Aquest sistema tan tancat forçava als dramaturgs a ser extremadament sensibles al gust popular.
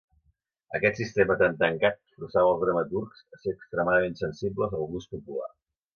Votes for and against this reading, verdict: 0, 2, rejected